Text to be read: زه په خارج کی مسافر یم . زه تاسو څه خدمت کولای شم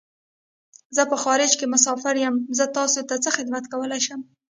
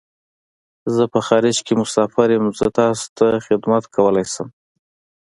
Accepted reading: first